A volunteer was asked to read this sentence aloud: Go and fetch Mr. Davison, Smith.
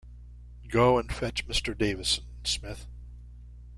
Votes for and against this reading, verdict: 2, 0, accepted